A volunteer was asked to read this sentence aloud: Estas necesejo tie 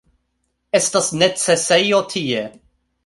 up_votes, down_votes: 2, 0